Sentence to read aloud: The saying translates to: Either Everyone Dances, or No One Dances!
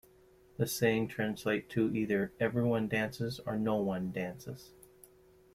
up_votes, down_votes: 2, 1